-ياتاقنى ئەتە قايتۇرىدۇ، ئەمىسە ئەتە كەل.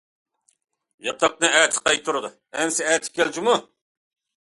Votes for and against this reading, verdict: 0, 2, rejected